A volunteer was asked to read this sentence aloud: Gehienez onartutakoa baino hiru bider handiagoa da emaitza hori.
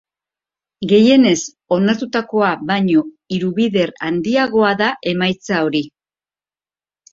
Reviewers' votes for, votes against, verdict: 4, 1, accepted